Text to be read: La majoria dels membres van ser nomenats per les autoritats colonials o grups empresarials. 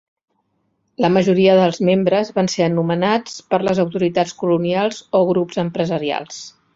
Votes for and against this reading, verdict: 0, 2, rejected